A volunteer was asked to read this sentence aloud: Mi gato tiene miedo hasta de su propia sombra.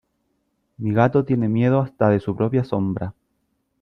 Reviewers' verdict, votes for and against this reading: accepted, 2, 0